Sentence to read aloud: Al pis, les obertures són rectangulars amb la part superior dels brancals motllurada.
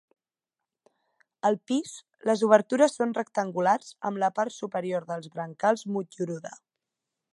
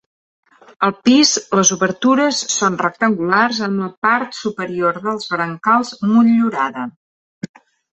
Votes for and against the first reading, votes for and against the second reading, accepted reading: 1, 2, 3, 0, second